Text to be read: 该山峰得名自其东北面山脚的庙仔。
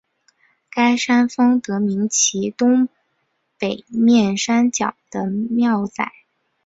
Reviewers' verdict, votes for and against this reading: accepted, 5, 0